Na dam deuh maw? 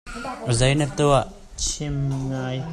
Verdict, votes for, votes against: rejected, 1, 2